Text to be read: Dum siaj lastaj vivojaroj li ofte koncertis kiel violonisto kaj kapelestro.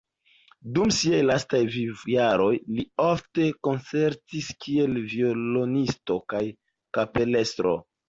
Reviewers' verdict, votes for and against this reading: accepted, 2, 0